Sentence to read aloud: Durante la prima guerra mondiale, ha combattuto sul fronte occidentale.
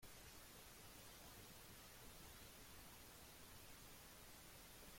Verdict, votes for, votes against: rejected, 0, 2